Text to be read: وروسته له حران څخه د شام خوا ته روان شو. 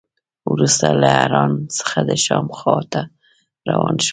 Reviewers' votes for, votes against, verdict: 2, 0, accepted